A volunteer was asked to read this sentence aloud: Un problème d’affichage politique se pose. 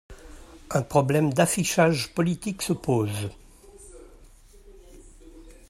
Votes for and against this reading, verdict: 2, 0, accepted